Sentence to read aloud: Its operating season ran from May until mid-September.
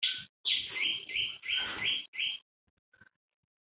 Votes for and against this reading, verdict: 0, 3, rejected